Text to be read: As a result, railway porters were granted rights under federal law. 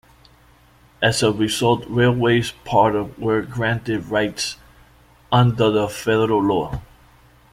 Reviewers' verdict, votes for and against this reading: rejected, 1, 2